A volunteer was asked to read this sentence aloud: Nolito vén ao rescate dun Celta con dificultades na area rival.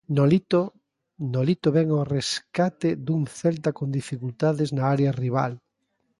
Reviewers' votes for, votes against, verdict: 0, 2, rejected